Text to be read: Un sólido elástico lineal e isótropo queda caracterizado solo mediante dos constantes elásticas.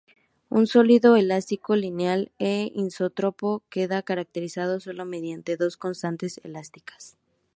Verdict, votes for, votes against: rejected, 0, 2